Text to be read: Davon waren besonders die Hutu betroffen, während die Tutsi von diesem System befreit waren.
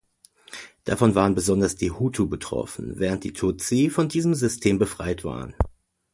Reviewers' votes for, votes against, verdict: 2, 0, accepted